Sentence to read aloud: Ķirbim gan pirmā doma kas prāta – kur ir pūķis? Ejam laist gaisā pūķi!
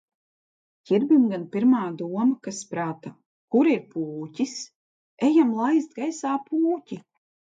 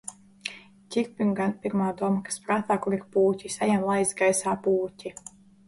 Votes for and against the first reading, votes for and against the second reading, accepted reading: 2, 1, 0, 2, first